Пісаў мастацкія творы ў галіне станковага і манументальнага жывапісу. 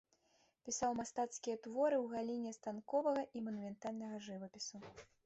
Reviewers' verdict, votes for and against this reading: rejected, 0, 2